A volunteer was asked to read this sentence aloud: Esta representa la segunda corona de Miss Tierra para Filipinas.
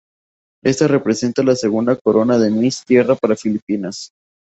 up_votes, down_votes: 4, 0